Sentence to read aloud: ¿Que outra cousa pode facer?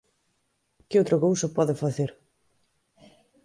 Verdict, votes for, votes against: accepted, 2, 0